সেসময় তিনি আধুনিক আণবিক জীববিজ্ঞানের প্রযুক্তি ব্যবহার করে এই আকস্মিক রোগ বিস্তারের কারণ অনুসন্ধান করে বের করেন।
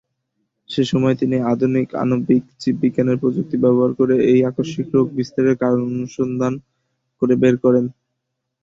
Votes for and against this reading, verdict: 11, 1, accepted